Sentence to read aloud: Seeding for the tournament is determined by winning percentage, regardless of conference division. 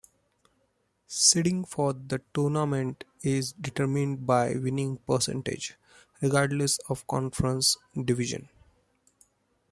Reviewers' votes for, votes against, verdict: 2, 0, accepted